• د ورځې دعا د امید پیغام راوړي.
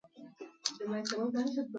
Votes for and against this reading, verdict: 1, 2, rejected